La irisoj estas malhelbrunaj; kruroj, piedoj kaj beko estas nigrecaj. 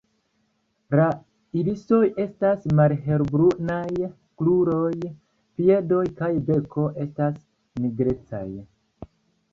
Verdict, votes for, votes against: accepted, 2, 0